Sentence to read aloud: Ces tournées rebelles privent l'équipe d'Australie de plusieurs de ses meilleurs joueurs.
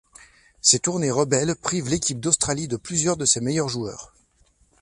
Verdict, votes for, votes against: accepted, 3, 0